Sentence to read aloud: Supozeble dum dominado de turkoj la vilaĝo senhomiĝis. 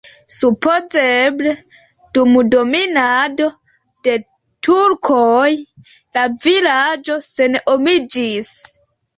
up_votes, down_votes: 1, 4